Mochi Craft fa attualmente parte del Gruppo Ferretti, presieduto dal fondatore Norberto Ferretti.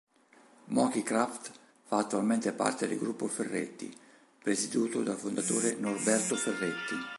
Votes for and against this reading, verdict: 1, 3, rejected